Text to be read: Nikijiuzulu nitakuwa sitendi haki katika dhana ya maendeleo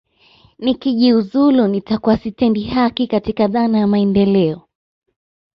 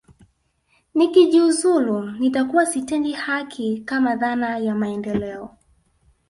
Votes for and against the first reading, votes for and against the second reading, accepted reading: 2, 0, 1, 2, first